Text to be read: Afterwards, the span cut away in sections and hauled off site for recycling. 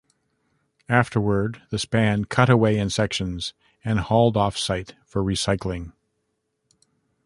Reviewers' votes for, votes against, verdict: 2, 0, accepted